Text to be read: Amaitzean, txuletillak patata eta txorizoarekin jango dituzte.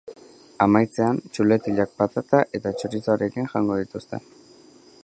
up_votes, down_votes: 2, 0